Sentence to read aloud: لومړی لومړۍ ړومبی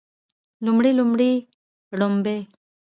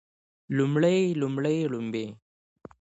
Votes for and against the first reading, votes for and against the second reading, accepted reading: 1, 2, 2, 0, second